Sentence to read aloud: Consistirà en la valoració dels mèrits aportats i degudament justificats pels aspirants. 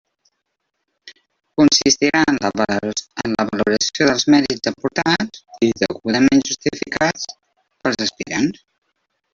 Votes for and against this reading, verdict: 0, 2, rejected